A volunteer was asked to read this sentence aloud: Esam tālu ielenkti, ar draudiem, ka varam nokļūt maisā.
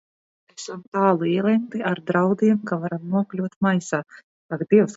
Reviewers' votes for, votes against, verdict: 0, 2, rejected